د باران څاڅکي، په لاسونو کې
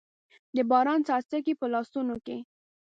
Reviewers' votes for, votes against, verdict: 1, 2, rejected